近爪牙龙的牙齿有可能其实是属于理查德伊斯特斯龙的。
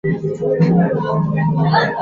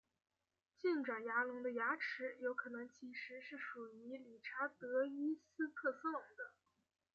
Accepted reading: second